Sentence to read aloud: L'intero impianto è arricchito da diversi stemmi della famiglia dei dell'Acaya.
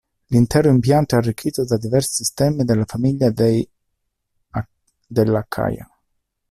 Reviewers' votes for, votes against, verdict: 0, 2, rejected